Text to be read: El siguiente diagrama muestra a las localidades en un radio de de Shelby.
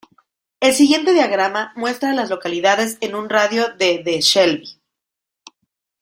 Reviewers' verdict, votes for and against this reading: rejected, 1, 2